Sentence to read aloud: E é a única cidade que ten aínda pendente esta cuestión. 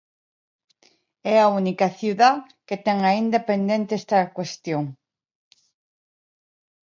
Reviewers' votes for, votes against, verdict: 0, 2, rejected